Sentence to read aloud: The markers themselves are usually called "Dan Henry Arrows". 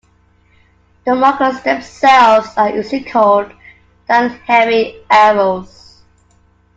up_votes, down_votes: 2, 0